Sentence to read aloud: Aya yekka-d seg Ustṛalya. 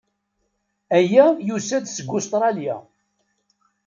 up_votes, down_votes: 1, 2